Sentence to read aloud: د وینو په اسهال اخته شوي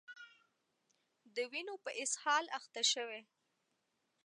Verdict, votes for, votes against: accepted, 2, 0